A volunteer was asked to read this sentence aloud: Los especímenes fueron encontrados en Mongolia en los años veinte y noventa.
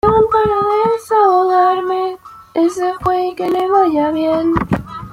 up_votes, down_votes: 0, 2